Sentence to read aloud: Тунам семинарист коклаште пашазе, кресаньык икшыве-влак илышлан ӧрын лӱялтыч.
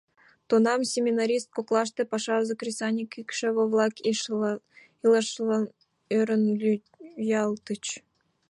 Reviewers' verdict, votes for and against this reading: rejected, 1, 2